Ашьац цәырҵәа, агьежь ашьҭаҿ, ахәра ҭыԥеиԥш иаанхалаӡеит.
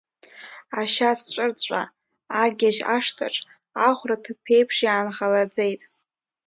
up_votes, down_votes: 0, 2